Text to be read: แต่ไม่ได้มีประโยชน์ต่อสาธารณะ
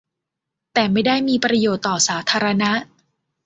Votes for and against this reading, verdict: 2, 0, accepted